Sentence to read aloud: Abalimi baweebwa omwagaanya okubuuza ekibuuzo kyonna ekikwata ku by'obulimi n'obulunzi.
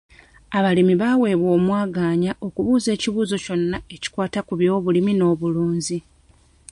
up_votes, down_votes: 2, 0